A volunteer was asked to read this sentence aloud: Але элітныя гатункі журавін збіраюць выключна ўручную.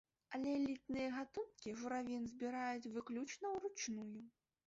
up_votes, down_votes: 0, 2